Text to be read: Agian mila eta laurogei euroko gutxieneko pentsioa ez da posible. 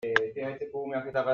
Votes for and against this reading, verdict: 0, 2, rejected